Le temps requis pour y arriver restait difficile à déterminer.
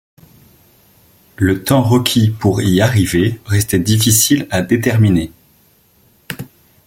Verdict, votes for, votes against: accepted, 2, 0